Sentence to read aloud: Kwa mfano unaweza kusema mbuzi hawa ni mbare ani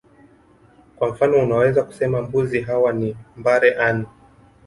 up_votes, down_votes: 2, 1